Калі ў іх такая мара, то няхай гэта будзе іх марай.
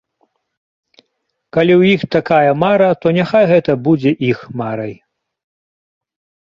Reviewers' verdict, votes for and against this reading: accepted, 2, 0